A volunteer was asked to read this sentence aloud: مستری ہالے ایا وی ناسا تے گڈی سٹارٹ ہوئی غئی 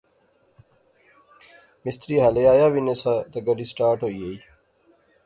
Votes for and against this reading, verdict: 2, 0, accepted